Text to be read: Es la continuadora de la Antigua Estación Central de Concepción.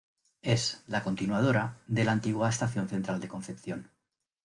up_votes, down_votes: 0, 2